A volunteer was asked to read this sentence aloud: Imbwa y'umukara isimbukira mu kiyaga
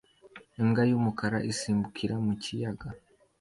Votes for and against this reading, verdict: 2, 1, accepted